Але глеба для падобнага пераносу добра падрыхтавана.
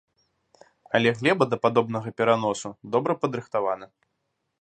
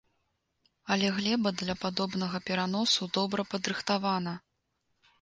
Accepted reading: second